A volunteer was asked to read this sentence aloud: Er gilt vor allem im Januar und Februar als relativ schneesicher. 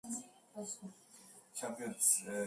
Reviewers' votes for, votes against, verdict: 0, 2, rejected